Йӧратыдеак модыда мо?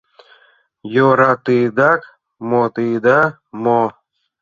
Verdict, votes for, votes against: rejected, 0, 2